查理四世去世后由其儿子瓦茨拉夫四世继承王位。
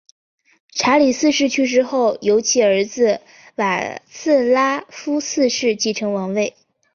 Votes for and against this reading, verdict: 3, 1, accepted